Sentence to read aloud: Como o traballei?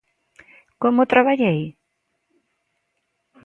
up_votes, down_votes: 2, 0